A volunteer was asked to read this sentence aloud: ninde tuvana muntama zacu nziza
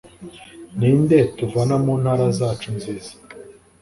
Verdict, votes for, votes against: rejected, 0, 2